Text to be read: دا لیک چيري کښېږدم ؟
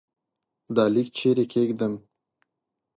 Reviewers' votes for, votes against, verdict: 2, 0, accepted